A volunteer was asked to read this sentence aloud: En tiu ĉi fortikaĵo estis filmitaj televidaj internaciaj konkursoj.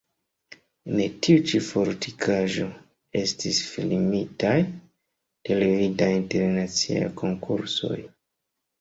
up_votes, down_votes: 0, 2